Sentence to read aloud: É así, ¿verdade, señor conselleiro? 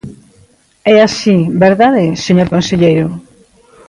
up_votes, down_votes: 2, 0